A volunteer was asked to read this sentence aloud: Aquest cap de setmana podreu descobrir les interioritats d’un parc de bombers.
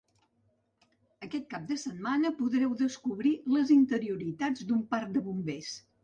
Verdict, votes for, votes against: accepted, 3, 0